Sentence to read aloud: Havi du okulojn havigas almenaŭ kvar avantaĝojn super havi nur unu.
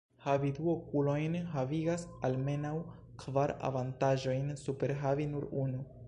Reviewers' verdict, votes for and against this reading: rejected, 1, 2